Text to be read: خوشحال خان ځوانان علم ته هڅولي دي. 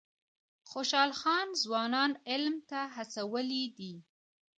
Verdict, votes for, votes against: rejected, 1, 2